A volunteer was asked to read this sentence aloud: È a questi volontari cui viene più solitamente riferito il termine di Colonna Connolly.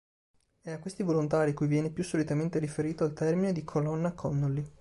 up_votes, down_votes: 2, 0